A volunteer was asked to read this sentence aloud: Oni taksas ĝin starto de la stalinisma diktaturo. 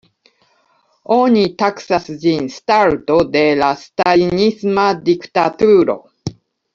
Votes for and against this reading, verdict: 2, 0, accepted